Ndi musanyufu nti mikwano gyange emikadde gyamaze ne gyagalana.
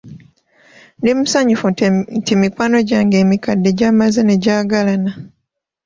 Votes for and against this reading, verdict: 2, 3, rejected